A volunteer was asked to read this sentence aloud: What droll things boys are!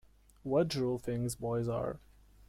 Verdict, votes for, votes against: accepted, 2, 0